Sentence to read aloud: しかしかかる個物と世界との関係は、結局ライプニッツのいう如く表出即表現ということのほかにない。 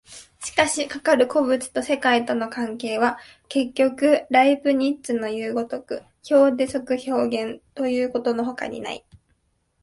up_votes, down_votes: 2, 0